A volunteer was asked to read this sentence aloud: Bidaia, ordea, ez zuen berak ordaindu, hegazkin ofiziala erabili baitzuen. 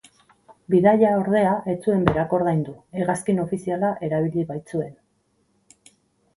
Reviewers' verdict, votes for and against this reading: rejected, 2, 2